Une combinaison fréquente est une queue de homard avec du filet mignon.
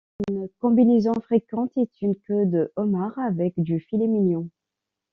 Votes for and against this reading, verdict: 2, 0, accepted